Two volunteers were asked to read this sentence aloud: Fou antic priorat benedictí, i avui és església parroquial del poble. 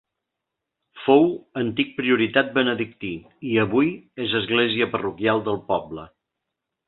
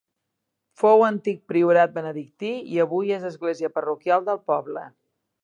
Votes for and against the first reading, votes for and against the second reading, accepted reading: 1, 2, 3, 0, second